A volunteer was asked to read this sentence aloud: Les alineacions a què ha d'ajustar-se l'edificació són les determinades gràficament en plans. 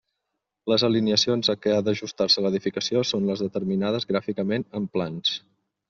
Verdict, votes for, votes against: accepted, 2, 0